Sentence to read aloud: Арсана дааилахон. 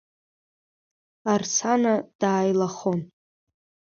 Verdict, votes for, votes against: accepted, 3, 1